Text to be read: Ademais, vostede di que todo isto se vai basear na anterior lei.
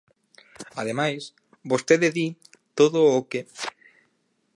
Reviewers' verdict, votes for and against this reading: rejected, 0, 4